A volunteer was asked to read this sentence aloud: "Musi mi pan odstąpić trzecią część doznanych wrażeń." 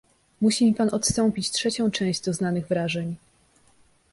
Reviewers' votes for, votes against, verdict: 2, 0, accepted